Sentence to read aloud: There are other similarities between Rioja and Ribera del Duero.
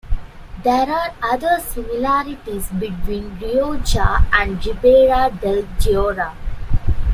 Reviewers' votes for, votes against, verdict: 0, 2, rejected